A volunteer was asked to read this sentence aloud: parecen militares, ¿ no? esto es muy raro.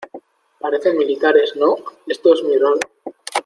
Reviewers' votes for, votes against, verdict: 2, 0, accepted